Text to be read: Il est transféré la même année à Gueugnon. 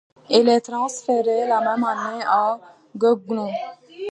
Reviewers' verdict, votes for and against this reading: rejected, 1, 2